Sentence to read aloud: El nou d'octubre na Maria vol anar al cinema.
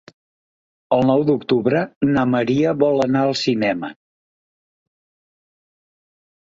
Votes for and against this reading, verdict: 4, 0, accepted